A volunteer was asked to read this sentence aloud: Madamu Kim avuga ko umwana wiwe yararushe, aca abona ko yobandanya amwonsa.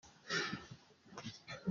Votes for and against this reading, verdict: 0, 2, rejected